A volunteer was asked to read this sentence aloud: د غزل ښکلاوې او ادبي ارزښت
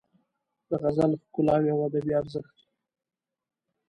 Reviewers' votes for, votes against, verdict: 2, 1, accepted